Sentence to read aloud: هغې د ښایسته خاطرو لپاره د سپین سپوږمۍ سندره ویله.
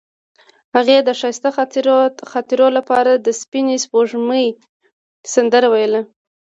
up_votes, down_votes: 2, 0